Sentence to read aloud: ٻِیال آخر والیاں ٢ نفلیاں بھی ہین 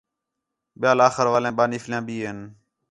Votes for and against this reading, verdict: 0, 2, rejected